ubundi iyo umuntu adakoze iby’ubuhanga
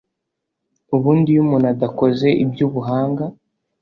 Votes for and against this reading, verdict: 2, 0, accepted